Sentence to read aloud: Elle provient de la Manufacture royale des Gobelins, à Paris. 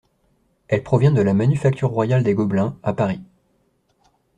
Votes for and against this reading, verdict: 2, 0, accepted